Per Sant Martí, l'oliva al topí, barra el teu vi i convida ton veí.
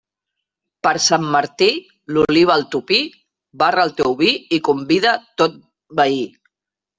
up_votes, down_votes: 0, 2